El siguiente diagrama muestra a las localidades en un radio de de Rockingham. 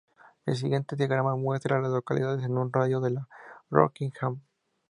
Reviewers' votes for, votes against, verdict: 2, 0, accepted